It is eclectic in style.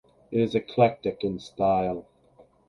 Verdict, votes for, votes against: rejected, 2, 2